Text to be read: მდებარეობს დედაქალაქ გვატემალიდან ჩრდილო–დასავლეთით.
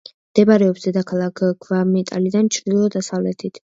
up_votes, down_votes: 1, 2